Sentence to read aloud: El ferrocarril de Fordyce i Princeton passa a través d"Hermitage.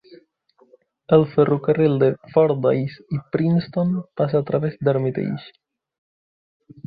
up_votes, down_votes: 2, 1